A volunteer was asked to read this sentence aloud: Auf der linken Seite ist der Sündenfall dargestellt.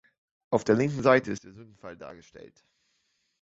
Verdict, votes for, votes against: rejected, 1, 2